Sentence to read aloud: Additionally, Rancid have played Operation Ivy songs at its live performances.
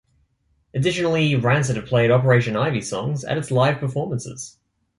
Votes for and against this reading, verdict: 2, 0, accepted